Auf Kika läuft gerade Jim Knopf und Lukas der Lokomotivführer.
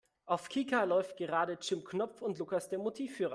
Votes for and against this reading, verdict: 0, 2, rejected